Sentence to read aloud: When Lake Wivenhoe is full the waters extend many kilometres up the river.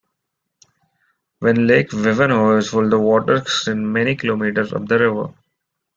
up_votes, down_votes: 1, 2